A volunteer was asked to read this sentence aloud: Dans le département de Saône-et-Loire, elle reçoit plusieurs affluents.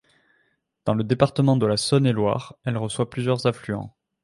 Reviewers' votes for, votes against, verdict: 1, 2, rejected